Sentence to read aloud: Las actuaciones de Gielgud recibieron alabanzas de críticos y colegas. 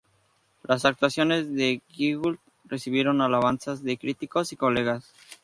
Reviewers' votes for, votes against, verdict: 0, 2, rejected